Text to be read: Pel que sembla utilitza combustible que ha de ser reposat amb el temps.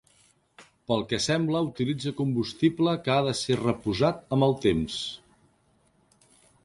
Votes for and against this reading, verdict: 3, 0, accepted